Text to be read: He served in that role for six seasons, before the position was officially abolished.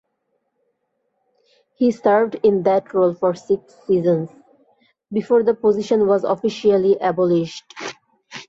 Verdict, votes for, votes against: accepted, 2, 0